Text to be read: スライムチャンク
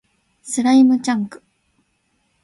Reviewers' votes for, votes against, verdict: 2, 0, accepted